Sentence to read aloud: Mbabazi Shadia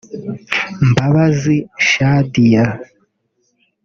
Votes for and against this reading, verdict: 1, 2, rejected